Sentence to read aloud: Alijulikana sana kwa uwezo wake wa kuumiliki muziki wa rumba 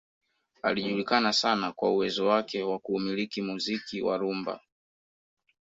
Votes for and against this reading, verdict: 2, 1, accepted